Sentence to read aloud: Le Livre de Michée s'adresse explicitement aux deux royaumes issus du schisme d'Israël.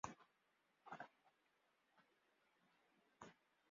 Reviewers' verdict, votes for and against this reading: rejected, 0, 3